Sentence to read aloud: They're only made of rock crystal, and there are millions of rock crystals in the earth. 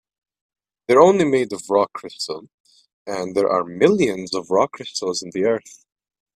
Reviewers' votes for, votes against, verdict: 1, 2, rejected